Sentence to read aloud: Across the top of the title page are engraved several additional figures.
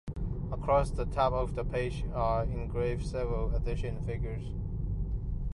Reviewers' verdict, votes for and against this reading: rejected, 1, 2